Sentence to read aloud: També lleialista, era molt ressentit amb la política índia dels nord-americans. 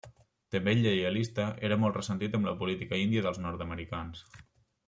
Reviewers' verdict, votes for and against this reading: accepted, 2, 0